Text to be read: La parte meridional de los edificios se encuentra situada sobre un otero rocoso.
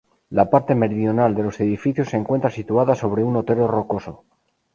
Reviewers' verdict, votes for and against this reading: accepted, 2, 0